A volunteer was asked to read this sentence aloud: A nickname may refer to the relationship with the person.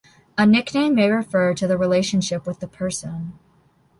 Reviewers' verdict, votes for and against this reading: accepted, 2, 0